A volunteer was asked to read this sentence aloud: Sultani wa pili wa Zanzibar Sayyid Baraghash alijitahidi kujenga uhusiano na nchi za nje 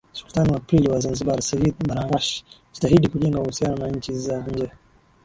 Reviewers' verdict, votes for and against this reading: accepted, 13, 2